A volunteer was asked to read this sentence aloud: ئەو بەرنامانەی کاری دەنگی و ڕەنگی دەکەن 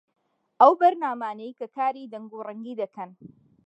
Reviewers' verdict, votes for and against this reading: rejected, 1, 2